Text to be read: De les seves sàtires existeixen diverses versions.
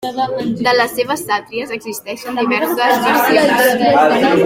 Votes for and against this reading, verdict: 0, 2, rejected